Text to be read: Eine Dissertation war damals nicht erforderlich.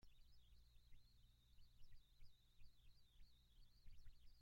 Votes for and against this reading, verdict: 0, 2, rejected